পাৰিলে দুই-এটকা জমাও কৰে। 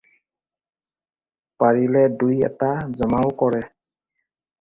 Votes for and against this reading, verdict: 0, 4, rejected